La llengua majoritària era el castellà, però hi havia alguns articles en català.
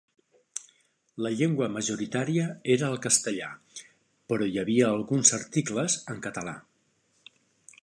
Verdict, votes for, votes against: accepted, 3, 0